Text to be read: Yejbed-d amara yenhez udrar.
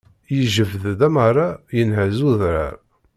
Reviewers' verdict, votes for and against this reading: rejected, 0, 2